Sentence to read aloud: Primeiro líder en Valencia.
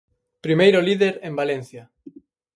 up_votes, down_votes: 4, 0